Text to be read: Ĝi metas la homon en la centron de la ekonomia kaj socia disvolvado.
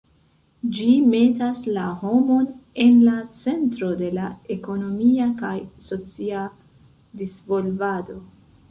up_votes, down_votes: 2, 0